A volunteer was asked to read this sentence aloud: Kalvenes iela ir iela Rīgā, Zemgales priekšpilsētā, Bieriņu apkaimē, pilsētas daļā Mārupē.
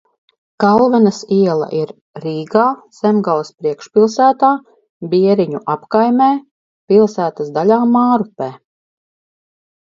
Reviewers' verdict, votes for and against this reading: rejected, 0, 4